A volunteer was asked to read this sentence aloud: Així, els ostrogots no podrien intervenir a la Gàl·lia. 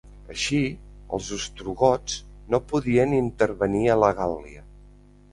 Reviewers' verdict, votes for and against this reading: rejected, 0, 2